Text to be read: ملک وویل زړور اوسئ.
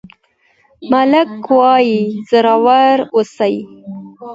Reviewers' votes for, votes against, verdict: 2, 0, accepted